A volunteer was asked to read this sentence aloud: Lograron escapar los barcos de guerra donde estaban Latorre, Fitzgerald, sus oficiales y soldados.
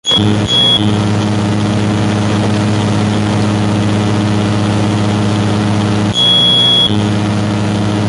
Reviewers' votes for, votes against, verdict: 0, 2, rejected